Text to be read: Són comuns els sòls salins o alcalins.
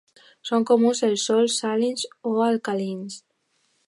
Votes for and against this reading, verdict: 2, 1, accepted